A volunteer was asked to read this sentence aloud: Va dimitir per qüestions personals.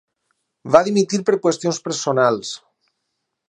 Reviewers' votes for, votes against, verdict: 8, 2, accepted